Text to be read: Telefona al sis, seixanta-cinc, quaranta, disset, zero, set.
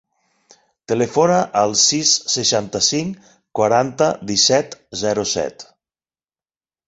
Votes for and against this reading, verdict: 6, 0, accepted